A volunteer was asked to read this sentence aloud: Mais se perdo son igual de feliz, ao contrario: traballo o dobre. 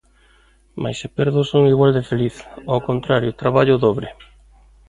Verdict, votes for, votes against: accepted, 2, 0